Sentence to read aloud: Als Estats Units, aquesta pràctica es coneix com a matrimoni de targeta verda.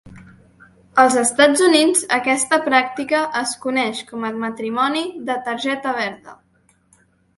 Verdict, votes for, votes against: accepted, 2, 0